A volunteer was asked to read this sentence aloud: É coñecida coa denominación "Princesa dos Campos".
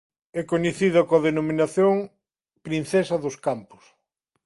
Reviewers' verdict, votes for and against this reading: accepted, 2, 0